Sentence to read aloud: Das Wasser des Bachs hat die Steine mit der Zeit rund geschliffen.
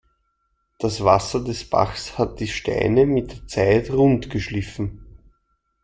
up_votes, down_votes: 2, 0